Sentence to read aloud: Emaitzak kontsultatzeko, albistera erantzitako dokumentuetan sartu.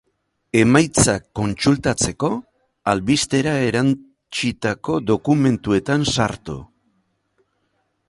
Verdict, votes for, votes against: rejected, 0, 2